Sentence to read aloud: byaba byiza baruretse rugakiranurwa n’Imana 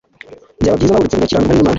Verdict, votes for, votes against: rejected, 0, 2